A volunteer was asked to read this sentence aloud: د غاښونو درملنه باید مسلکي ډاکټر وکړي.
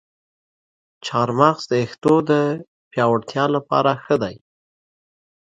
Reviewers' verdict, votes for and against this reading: rejected, 0, 2